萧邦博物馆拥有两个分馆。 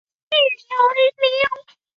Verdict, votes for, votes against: rejected, 0, 2